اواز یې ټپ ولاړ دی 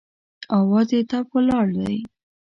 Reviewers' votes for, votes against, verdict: 2, 0, accepted